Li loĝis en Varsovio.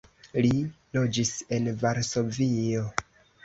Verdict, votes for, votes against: accepted, 2, 1